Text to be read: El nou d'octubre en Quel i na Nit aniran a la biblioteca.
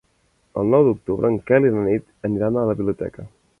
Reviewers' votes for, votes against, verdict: 4, 0, accepted